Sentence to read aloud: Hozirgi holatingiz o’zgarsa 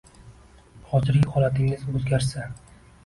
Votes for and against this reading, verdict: 2, 0, accepted